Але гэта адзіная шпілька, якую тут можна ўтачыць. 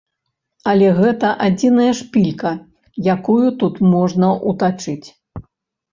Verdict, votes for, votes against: rejected, 1, 3